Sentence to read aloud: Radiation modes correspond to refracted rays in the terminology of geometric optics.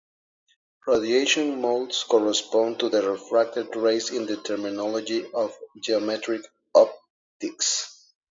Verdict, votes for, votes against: rejected, 0, 2